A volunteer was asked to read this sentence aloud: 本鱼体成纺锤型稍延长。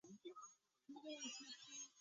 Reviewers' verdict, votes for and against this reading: rejected, 0, 5